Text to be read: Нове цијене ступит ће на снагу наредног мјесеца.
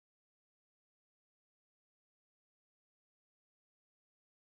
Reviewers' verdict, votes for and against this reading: rejected, 0, 2